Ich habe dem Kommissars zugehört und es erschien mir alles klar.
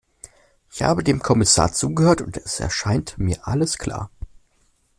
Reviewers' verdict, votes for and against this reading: rejected, 0, 2